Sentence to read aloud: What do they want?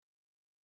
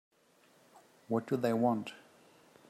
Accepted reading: second